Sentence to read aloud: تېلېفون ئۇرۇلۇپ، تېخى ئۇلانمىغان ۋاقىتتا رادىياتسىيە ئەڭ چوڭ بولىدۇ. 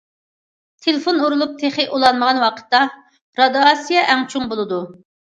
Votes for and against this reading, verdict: 0, 2, rejected